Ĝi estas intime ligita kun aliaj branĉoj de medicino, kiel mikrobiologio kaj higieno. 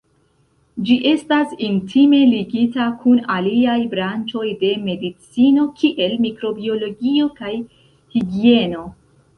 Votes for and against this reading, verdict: 2, 0, accepted